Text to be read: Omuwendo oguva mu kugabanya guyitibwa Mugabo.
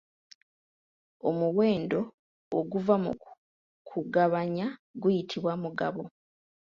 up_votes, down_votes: 2, 1